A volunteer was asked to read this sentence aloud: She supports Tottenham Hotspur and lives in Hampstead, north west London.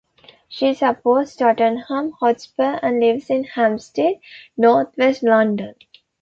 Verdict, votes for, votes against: accepted, 2, 0